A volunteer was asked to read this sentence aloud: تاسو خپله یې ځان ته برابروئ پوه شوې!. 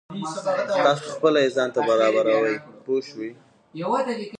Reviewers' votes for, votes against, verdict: 2, 1, accepted